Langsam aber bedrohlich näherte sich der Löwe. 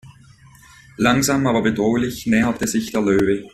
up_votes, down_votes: 2, 0